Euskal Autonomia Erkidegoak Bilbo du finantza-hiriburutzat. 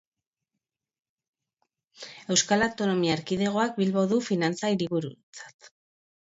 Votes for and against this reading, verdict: 0, 2, rejected